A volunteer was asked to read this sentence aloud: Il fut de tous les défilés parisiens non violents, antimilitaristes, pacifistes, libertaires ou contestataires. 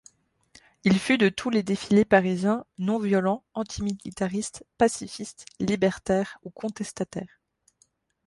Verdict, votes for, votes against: accepted, 2, 0